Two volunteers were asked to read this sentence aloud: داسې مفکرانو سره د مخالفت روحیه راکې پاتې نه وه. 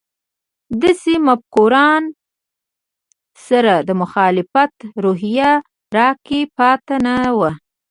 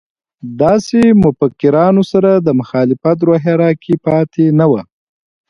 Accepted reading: second